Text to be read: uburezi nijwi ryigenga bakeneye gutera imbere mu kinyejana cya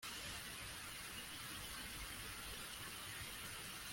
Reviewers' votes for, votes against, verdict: 0, 2, rejected